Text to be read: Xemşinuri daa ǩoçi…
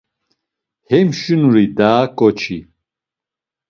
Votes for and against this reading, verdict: 0, 2, rejected